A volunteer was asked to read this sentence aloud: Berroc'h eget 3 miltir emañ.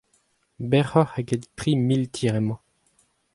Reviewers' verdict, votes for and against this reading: rejected, 0, 2